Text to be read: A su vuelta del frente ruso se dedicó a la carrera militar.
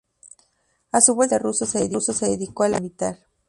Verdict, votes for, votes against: rejected, 0, 2